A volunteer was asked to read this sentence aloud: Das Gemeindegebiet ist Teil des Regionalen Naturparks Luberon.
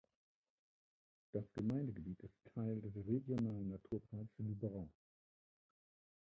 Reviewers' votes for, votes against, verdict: 0, 2, rejected